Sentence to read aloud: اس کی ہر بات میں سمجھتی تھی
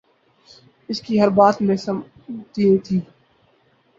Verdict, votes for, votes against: accepted, 4, 0